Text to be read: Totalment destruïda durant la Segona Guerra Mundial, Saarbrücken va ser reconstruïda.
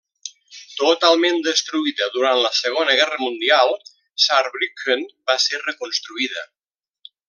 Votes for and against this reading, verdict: 2, 0, accepted